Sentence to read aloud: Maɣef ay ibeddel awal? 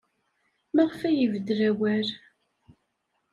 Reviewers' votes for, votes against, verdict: 2, 0, accepted